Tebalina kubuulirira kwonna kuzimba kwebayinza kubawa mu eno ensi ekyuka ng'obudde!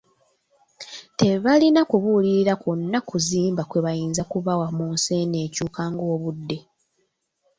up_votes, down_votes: 2, 0